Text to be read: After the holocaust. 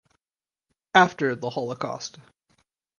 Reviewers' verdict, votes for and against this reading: accepted, 4, 0